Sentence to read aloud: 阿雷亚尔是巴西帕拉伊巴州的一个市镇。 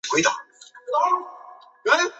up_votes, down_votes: 0, 2